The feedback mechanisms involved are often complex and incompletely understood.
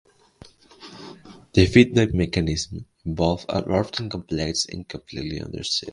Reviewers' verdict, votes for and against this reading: rejected, 0, 2